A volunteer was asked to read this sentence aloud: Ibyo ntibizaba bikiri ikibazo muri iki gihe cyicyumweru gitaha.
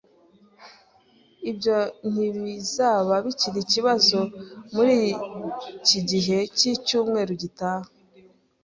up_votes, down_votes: 3, 0